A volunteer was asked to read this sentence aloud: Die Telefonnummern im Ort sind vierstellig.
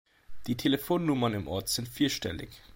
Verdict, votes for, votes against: accepted, 2, 0